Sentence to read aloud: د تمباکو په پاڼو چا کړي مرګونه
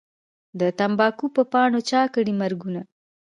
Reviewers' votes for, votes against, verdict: 0, 2, rejected